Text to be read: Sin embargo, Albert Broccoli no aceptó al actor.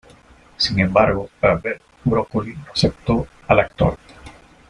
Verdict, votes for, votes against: rejected, 1, 2